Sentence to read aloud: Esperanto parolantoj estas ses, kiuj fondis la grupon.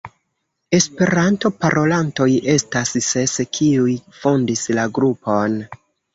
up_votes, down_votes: 2, 0